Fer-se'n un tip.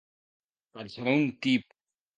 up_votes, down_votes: 1, 2